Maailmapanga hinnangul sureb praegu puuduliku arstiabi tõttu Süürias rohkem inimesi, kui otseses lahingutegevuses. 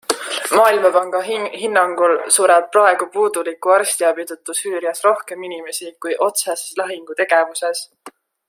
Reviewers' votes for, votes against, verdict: 1, 2, rejected